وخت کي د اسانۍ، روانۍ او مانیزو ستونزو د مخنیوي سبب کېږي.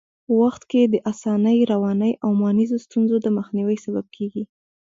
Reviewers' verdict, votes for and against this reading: rejected, 1, 2